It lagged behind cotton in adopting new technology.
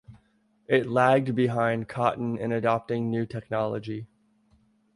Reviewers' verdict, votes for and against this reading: rejected, 1, 2